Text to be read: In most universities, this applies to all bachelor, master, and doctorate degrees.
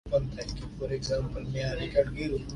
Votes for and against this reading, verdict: 0, 2, rejected